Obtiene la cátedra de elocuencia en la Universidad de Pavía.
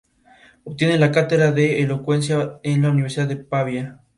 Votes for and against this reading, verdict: 2, 0, accepted